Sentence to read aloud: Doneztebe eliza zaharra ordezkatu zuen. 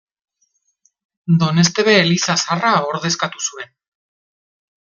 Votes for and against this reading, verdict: 0, 2, rejected